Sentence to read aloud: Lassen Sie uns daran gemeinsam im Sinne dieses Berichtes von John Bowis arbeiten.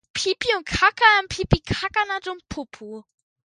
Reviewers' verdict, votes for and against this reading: rejected, 0, 2